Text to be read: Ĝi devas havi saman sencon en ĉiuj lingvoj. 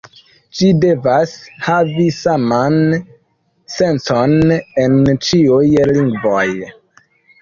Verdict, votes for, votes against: rejected, 1, 2